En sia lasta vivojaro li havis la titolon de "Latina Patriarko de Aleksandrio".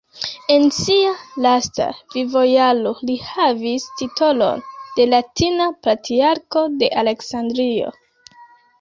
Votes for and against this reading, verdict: 1, 2, rejected